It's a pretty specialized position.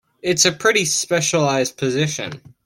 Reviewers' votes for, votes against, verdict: 2, 0, accepted